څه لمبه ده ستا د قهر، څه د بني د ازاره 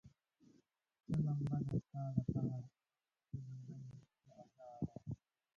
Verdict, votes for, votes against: rejected, 0, 2